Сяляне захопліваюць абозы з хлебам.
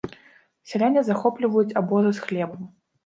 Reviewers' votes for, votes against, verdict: 2, 1, accepted